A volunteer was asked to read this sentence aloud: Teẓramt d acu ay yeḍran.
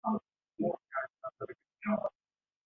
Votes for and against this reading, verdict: 0, 2, rejected